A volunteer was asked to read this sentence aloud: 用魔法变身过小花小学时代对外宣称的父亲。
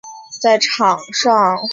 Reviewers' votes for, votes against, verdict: 4, 1, accepted